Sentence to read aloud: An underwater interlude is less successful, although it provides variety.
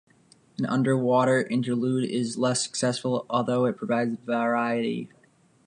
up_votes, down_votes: 0, 2